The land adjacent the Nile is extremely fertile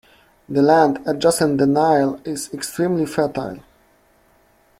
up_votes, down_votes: 0, 2